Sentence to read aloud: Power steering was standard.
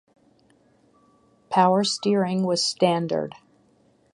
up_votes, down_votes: 6, 0